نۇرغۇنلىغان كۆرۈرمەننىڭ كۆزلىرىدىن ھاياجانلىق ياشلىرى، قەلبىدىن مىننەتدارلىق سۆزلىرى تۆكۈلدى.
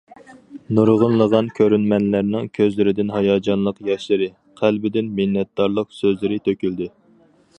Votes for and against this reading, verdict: 2, 4, rejected